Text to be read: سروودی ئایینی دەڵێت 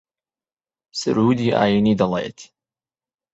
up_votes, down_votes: 2, 0